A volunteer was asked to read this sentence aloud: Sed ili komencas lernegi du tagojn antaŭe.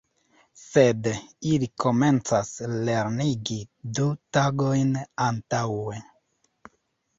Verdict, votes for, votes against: accepted, 2, 1